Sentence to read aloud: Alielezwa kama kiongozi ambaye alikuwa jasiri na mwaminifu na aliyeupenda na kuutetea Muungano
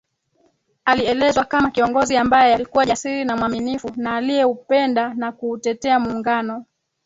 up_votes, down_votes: 2, 4